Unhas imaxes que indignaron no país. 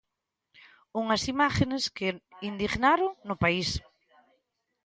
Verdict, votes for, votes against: rejected, 0, 3